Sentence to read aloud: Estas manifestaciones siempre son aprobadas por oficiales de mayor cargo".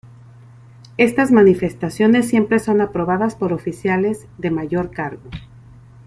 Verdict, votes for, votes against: accepted, 2, 0